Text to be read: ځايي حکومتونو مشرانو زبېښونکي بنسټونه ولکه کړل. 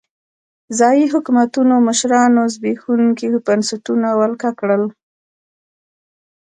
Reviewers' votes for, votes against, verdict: 2, 0, accepted